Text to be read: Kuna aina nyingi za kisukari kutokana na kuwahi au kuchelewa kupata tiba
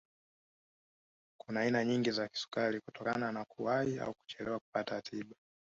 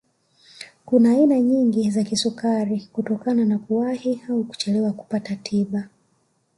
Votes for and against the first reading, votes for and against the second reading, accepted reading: 1, 2, 3, 0, second